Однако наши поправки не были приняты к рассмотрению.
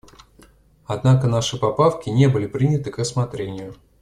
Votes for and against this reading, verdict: 1, 2, rejected